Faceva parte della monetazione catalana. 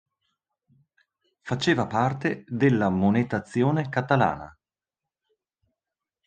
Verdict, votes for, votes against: accepted, 2, 0